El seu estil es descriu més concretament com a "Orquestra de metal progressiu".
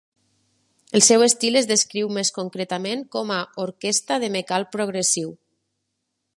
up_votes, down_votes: 1, 2